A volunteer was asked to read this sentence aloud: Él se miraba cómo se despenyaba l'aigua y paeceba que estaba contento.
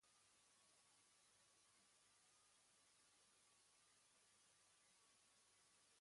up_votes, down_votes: 1, 2